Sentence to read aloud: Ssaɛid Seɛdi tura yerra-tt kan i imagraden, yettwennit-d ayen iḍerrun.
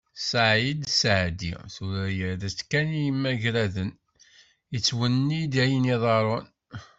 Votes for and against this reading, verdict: 1, 2, rejected